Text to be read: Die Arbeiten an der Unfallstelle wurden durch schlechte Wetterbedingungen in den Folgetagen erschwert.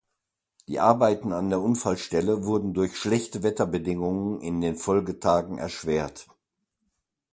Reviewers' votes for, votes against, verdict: 2, 0, accepted